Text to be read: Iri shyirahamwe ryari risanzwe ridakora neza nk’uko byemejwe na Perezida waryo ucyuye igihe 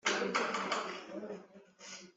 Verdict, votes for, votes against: rejected, 1, 2